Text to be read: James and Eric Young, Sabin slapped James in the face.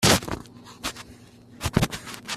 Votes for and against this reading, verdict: 0, 2, rejected